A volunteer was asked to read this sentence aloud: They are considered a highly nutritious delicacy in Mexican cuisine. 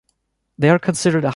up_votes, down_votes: 0, 2